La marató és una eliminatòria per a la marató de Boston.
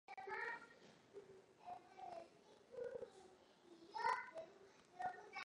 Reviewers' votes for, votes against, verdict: 0, 2, rejected